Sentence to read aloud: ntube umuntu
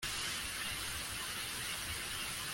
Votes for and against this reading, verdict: 0, 2, rejected